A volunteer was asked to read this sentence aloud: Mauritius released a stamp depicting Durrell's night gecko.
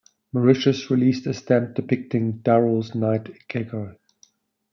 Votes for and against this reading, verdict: 2, 0, accepted